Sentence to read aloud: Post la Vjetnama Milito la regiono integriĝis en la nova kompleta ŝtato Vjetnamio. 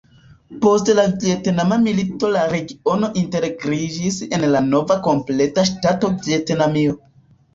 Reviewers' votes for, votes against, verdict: 2, 0, accepted